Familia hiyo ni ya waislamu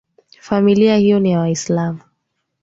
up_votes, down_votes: 4, 1